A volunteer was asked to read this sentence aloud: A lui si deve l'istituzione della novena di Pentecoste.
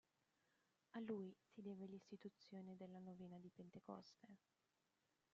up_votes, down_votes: 0, 2